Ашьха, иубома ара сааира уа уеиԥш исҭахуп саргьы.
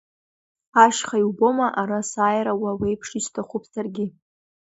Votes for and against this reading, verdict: 2, 0, accepted